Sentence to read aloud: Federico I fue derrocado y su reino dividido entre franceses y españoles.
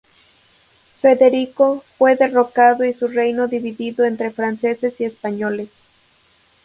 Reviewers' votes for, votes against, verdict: 0, 2, rejected